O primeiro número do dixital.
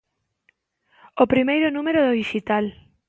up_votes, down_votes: 2, 0